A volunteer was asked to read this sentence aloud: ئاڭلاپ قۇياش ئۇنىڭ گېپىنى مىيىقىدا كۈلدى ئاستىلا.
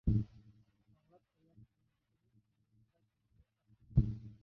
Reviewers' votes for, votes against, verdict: 0, 2, rejected